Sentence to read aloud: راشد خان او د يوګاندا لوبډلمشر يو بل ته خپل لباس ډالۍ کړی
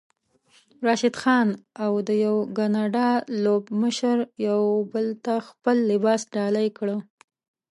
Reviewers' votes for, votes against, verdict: 0, 3, rejected